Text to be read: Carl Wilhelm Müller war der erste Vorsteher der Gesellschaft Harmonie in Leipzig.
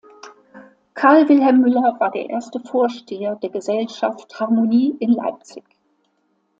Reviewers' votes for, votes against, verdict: 2, 0, accepted